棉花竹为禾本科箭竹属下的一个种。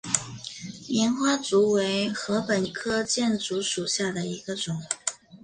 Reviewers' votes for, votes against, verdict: 2, 0, accepted